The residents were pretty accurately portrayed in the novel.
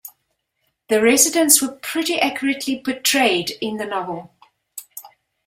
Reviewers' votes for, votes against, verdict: 2, 0, accepted